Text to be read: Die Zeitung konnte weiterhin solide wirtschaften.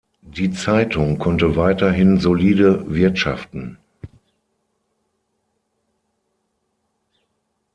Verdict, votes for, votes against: accepted, 6, 0